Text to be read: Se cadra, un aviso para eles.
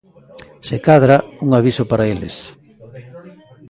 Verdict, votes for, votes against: rejected, 1, 2